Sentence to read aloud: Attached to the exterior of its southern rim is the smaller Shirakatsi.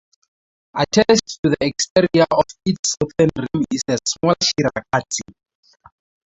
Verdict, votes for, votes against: rejected, 0, 2